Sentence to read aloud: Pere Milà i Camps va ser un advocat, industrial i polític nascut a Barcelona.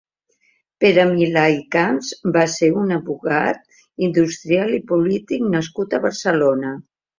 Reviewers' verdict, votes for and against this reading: accepted, 2, 1